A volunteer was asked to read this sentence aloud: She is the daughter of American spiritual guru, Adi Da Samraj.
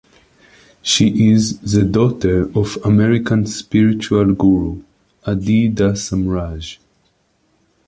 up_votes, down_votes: 2, 1